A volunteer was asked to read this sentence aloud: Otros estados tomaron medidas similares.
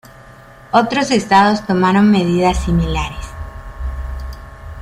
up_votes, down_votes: 1, 2